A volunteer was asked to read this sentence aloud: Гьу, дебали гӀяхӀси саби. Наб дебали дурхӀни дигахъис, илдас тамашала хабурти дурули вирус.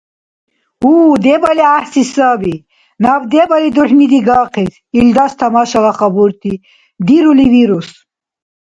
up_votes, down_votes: 0, 2